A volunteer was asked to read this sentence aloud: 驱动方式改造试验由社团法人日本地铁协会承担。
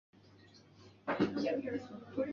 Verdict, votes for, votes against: rejected, 3, 5